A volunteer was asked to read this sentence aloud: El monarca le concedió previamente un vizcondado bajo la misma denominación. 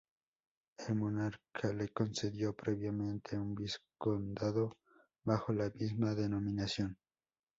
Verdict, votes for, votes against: rejected, 0, 2